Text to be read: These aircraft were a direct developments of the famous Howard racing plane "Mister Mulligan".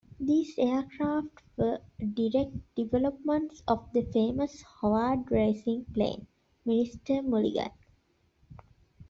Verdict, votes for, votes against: accepted, 2, 1